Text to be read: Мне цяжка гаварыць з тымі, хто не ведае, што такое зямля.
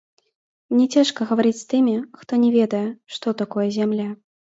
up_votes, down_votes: 0, 2